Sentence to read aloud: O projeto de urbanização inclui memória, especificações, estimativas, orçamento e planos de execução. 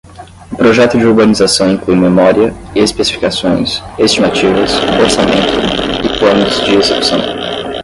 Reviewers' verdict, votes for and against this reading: rejected, 5, 5